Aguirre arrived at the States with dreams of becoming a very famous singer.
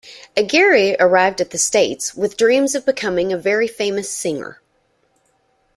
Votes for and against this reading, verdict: 2, 0, accepted